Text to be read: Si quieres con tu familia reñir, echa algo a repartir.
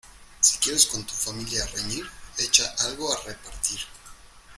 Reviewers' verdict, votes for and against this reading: accepted, 2, 0